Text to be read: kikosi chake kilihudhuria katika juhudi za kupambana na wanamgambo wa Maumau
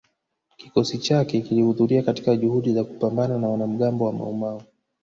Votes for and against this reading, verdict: 2, 0, accepted